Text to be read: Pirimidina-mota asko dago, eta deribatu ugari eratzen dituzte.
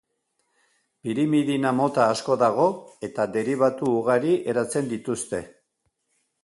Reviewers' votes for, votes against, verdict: 2, 0, accepted